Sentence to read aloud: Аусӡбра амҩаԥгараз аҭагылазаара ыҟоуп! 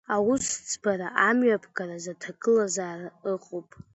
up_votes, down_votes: 2, 0